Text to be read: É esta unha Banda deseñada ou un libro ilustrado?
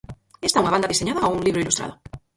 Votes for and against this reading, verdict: 0, 4, rejected